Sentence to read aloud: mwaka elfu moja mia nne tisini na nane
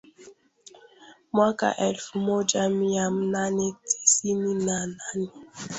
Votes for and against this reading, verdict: 1, 2, rejected